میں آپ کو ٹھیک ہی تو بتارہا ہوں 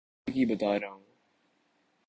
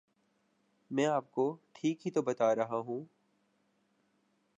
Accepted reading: second